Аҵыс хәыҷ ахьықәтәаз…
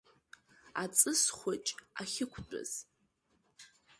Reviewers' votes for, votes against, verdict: 2, 0, accepted